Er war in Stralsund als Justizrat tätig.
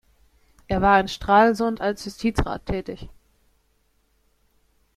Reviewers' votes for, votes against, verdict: 1, 2, rejected